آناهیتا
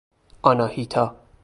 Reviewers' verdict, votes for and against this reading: accepted, 2, 0